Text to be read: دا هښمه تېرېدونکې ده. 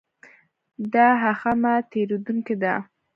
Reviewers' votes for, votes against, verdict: 1, 2, rejected